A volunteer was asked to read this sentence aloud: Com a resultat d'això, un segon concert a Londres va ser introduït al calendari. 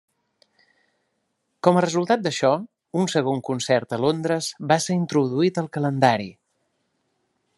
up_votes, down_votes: 3, 0